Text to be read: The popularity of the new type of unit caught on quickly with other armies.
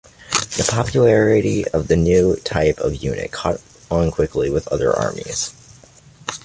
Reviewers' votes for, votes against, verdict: 2, 0, accepted